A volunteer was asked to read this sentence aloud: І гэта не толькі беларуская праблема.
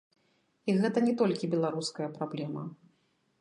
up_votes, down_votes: 1, 2